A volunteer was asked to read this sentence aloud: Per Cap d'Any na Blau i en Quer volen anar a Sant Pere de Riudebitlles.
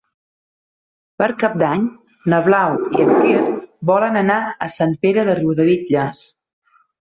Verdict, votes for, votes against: rejected, 0, 2